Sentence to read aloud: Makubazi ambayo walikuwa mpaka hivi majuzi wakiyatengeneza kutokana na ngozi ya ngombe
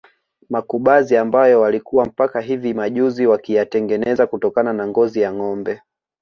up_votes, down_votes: 0, 2